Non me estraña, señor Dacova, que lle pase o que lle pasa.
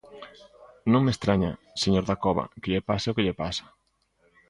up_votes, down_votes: 2, 0